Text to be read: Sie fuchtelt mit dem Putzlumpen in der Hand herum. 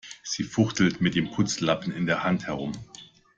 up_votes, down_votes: 1, 2